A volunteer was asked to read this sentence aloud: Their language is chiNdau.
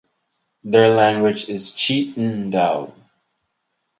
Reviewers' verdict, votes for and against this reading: rejected, 2, 2